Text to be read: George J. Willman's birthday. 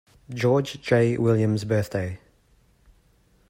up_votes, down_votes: 0, 2